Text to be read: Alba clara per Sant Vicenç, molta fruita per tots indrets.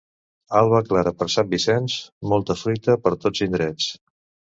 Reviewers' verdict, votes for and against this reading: accepted, 3, 0